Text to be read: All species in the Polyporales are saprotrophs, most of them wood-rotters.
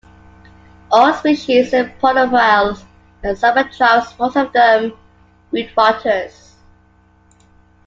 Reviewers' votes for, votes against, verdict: 0, 2, rejected